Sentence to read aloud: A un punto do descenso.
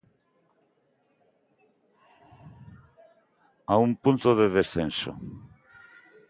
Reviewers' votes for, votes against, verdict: 0, 2, rejected